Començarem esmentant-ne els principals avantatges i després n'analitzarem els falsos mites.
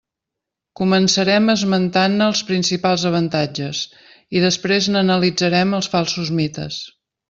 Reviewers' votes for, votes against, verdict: 3, 0, accepted